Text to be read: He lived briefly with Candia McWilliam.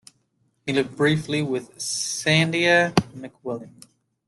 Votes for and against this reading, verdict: 0, 2, rejected